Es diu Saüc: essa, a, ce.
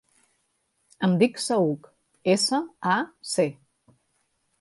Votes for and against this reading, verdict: 2, 3, rejected